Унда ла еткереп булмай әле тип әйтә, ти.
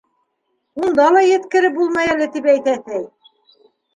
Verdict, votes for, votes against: accepted, 2, 1